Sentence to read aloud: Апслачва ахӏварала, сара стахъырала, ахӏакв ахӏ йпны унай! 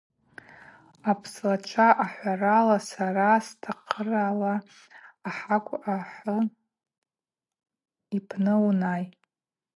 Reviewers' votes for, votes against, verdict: 2, 0, accepted